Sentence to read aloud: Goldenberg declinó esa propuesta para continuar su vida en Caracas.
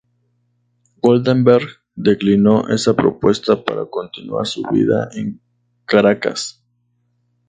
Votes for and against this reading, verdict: 2, 0, accepted